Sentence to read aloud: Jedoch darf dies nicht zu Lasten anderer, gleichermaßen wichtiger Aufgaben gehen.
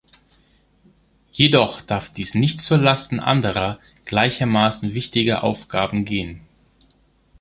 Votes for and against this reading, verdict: 3, 0, accepted